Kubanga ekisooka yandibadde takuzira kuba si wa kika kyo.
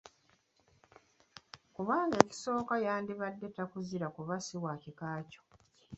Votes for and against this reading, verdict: 0, 2, rejected